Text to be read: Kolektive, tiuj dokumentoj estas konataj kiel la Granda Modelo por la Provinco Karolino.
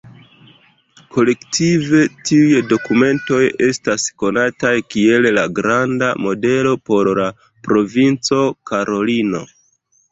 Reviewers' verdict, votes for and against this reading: rejected, 0, 2